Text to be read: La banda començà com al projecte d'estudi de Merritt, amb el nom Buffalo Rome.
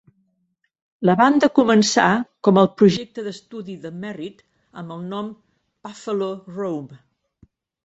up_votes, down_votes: 2, 1